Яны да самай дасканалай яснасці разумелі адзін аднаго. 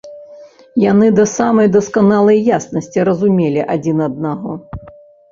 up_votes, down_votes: 2, 0